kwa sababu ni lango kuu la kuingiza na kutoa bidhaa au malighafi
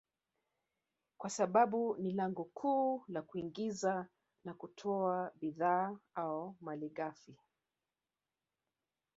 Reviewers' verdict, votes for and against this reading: rejected, 0, 2